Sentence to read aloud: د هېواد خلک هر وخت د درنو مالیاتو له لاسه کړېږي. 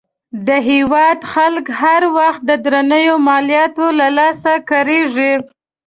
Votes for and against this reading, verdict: 2, 0, accepted